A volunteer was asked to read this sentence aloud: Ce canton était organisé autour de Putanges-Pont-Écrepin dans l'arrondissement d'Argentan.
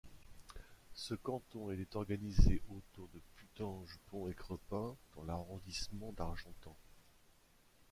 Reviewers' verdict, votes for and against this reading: rejected, 0, 2